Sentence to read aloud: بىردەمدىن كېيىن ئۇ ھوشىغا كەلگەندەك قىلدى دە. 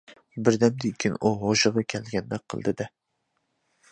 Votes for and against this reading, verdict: 2, 1, accepted